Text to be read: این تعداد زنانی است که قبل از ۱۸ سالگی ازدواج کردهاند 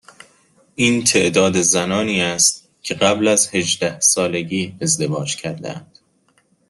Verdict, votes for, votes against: rejected, 0, 2